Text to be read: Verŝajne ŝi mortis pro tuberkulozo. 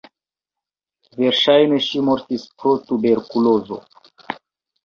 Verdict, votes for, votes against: accepted, 2, 1